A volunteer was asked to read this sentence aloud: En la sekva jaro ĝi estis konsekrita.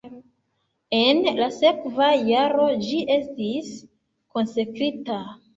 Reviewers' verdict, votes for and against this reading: accepted, 2, 0